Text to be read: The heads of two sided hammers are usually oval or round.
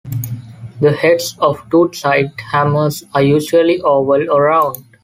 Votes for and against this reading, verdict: 1, 2, rejected